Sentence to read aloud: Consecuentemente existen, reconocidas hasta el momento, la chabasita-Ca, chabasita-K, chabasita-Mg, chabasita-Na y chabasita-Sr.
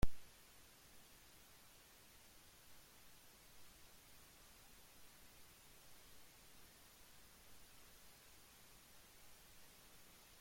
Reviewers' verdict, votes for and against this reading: rejected, 0, 2